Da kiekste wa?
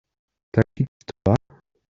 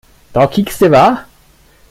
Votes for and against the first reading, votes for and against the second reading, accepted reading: 0, 2, 2, 0, second